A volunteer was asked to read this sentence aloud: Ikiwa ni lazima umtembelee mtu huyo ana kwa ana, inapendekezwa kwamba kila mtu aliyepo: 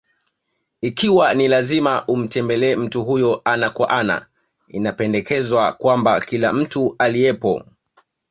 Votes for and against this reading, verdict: 2, 1, accepted